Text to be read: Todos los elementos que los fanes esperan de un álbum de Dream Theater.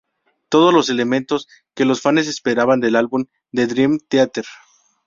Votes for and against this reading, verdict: 0, 2, rejected